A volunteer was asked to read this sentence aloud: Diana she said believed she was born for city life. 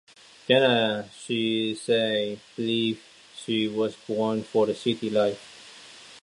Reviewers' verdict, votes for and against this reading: rejected, 0, 2